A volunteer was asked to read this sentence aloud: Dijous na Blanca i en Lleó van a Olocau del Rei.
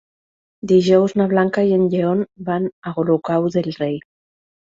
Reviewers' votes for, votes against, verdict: 0, 2, rejected